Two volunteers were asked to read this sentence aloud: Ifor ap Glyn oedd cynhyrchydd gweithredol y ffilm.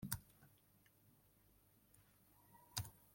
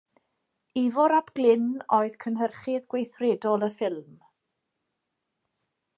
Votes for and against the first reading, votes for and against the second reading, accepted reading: 0, 2, 2, 0, second